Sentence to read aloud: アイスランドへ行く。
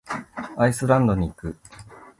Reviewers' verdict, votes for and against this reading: rejected, 2, 3